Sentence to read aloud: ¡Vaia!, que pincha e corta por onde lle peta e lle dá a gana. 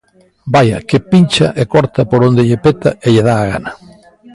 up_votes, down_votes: 2, 1